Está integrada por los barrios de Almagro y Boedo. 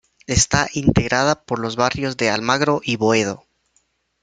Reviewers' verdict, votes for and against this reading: accepted, 2, 0